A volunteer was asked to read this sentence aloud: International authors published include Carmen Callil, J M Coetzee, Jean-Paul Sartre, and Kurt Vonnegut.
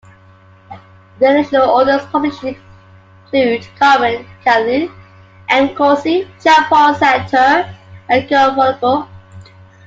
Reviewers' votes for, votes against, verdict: 1, 2, rejected